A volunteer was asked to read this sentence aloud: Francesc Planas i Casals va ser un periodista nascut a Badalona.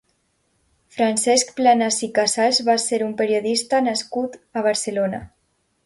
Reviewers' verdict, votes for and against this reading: rejected, 0, 3